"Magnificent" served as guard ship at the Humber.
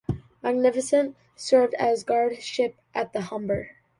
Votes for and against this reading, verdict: 2, 0, accepted